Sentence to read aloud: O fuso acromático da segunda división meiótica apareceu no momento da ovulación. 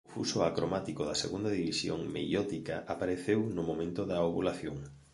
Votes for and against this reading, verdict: 0, 2, rejected